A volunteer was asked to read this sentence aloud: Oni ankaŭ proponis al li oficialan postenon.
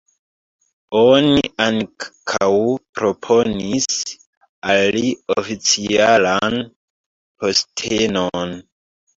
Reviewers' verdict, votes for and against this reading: rejected, 0, 2